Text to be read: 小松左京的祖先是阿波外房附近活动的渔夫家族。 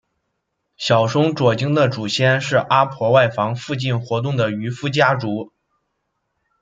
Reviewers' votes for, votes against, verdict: 0, 2, rejected